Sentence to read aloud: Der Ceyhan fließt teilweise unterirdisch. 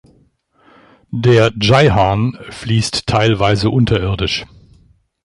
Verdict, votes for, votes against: accepted, 2, 1